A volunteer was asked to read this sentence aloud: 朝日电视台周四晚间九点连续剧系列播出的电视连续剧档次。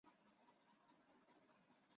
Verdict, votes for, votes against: rejected, 0, 4